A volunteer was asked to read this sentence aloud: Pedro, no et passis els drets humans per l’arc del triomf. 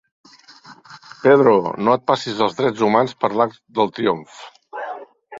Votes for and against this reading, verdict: 4, 0, accepted